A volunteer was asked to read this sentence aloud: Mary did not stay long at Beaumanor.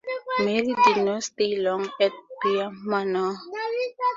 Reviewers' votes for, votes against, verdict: 2, 2, rejected